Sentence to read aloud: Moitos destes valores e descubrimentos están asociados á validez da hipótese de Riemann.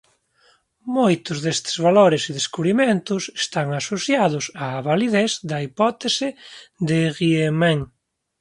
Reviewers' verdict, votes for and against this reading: accepted, 2, 0